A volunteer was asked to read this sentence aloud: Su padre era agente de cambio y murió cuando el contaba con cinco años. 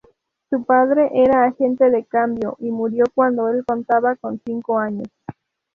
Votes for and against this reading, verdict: 2, 0, accepted